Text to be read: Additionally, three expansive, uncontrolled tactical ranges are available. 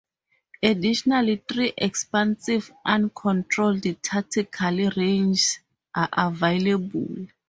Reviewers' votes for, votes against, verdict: 0, 2, rejected